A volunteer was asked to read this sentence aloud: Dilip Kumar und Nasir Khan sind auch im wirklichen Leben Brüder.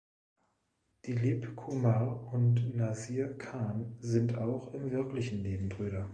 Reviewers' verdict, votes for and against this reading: rejected, 1, 2